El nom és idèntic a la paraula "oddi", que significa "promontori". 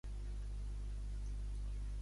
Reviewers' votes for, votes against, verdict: 0, 2, rejected